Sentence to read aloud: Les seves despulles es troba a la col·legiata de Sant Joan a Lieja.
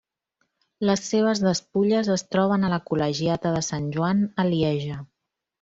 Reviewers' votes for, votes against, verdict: 1, 2, rejected